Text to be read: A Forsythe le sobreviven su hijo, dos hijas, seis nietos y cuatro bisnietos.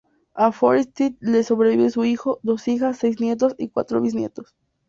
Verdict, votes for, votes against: rejected, 0, 2